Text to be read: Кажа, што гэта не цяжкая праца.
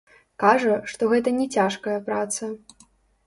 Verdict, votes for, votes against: rejected, 1, 2